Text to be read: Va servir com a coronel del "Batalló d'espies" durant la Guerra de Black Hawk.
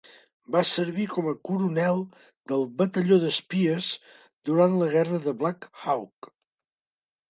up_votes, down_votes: 2, 0